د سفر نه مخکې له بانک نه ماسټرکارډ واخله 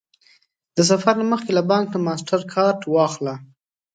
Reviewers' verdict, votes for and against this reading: accepted, 2, 0